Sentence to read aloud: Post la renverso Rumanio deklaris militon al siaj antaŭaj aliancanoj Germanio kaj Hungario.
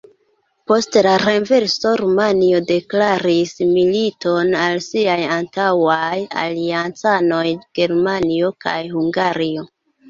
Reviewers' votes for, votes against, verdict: 0, 2, rejected